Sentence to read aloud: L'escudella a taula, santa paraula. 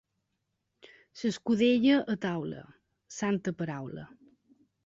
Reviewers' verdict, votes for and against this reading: rejected, 1, 3